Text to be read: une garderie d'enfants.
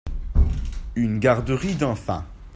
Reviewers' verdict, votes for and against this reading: accepted, 2, 0